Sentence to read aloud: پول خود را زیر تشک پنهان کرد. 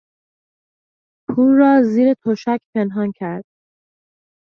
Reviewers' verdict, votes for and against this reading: rejected, 0, 2